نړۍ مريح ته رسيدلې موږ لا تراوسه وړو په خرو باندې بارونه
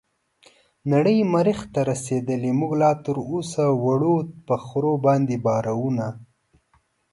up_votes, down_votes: 2, 0